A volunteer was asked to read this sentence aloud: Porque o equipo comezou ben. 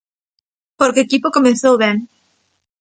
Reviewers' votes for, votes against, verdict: 1, 2, rejected